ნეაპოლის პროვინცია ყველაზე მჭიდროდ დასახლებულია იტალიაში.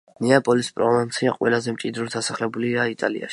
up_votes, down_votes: 2, 1